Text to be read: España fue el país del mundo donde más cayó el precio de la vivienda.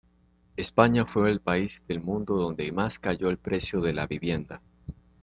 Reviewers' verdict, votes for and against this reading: accepted, 2, 0